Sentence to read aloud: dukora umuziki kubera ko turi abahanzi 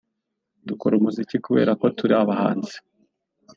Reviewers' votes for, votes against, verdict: 2, 0, accepted